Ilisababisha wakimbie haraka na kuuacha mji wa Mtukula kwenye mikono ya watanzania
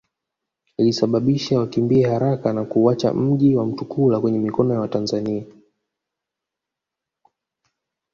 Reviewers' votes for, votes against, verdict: 0, 2, rejected